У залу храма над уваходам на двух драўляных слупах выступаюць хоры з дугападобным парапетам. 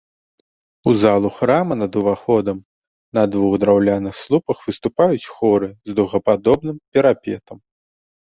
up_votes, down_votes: 0, 2